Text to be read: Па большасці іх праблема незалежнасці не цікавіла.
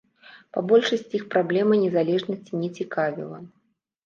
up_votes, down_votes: 2, 0